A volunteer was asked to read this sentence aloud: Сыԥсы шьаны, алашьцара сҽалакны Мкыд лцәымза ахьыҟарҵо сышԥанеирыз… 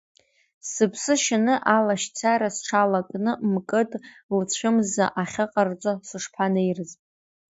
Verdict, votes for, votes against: rejected, 0, 3